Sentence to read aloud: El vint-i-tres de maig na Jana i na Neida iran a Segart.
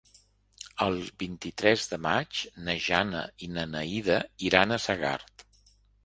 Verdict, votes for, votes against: rejected, 0, 2